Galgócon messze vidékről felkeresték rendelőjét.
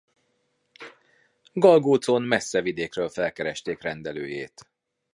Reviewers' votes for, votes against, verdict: 2, 0, accepted